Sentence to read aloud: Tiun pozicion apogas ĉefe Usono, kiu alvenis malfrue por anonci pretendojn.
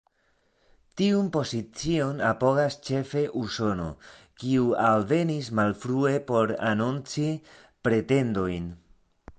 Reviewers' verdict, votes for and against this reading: rejected, 1, 2